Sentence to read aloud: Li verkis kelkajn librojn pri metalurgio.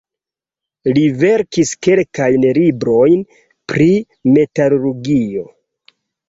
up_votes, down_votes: 0, 2